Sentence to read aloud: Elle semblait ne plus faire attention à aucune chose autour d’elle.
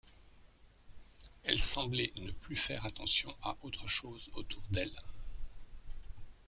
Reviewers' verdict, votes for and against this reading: rejected, 0, 2